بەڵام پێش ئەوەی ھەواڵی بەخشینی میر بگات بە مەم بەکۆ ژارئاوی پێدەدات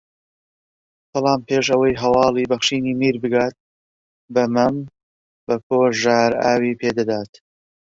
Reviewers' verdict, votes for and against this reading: rejected, 1, 2